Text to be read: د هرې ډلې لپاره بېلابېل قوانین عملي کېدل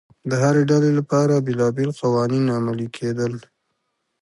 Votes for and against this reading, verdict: 2, 0, accepted